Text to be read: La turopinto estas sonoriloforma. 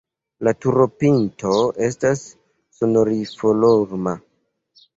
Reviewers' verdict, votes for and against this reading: rejected, 1, 2